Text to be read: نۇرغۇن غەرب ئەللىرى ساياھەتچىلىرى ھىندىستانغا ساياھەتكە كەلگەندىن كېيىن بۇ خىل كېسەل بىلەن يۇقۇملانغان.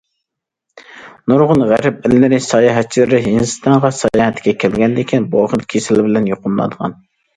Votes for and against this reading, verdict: 1, 2, rejected